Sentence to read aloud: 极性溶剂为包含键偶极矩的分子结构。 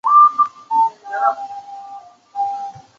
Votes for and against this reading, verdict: 0, 3, rejected